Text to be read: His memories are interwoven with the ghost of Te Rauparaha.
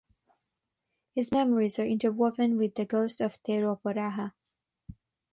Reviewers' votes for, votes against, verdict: 6, 0, accepted